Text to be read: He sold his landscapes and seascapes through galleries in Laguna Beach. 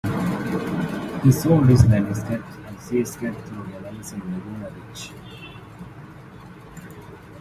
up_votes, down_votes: 2, 1